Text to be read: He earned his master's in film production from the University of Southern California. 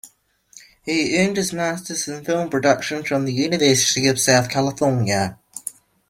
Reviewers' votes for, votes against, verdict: 1, 2, rejected